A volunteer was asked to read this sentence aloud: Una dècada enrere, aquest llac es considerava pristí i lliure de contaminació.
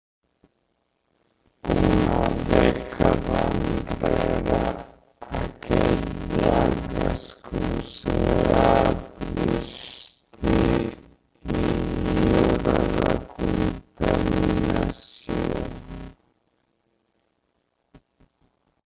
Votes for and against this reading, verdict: 0, 2, rejected